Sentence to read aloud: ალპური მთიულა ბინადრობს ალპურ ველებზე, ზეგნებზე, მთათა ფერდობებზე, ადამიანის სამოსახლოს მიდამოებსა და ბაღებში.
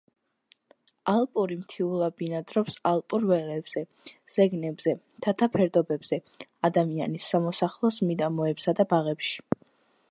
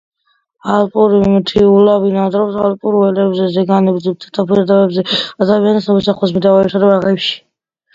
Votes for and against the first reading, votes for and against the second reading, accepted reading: 2, 0, 1, 2, first